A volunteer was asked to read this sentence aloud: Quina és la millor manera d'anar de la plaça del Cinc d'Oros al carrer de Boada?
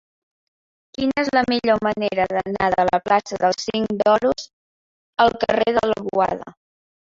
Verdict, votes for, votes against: rejected, 1, 2